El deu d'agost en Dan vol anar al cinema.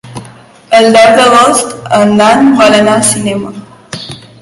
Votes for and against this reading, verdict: 2, 1, accepted